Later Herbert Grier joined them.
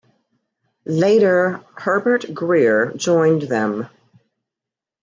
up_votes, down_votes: 2, 0